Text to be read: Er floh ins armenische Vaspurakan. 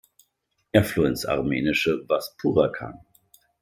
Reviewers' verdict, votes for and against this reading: rejected, 1, 2